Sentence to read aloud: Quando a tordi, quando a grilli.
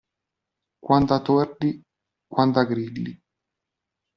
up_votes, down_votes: 2, 0